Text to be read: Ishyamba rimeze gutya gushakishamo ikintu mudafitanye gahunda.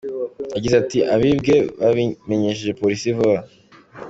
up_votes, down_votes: 2, 1